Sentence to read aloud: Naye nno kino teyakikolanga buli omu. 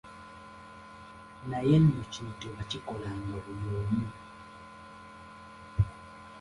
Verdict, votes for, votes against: rejected, 2, 3